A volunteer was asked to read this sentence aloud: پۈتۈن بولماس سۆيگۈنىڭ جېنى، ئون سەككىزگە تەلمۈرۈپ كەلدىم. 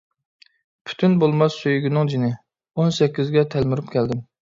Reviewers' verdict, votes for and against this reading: accepted, 2, 0